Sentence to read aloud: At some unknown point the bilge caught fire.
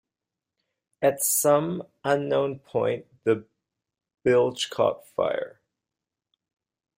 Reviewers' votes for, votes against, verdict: 2, 0, accepted